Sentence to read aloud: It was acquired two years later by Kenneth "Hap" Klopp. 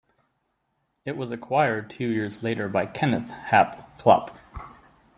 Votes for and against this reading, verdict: 3, 0, accepted